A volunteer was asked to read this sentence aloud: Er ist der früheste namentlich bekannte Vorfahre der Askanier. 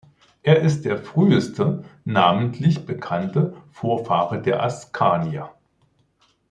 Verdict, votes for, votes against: accepted, 2, 0